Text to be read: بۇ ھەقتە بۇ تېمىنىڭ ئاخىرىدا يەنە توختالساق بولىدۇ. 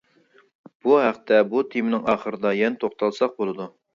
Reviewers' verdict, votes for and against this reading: accepted, 2, 0